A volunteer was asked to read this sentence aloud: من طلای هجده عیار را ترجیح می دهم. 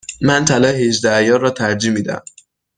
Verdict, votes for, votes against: accepted, 2, 0